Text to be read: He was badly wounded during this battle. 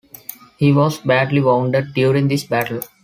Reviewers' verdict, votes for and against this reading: accepted, 2, 0